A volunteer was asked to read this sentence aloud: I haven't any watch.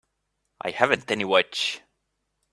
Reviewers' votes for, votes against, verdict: 1, 2, rejected